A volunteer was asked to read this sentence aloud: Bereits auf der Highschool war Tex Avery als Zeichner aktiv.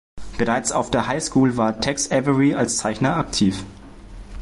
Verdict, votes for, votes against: accepted, 2, 0